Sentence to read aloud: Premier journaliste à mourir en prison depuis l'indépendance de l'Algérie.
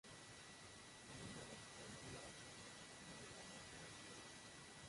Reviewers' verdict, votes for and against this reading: rejected, 0, 2